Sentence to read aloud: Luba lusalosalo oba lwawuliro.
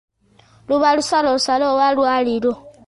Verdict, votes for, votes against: rejected, 1, 2